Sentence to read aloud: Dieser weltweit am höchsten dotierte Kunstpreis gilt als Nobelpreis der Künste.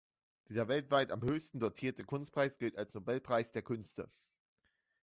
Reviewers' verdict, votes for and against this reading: accepted, 2, 0